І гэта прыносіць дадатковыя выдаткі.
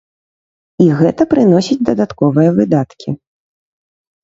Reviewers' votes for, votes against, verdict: 2, 0, accepted